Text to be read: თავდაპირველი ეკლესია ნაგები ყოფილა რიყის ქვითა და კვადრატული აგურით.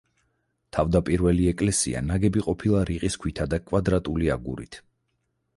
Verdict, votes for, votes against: accepted, 4, 0